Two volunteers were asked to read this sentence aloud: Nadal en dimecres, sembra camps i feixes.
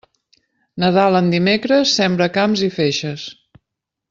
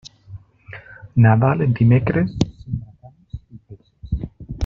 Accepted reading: first